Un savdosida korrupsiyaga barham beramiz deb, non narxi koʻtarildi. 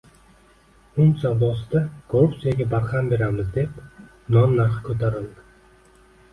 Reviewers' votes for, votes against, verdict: 2, 1, accepted